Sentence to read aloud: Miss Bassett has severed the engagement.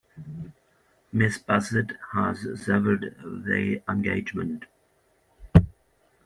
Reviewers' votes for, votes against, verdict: 0, 2, rejected